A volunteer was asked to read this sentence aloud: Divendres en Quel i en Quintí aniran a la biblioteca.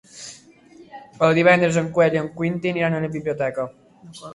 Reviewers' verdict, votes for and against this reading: rejected, 0, 3